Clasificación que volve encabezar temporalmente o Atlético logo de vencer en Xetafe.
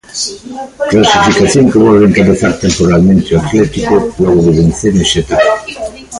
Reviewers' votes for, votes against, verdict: 1, 2, rejected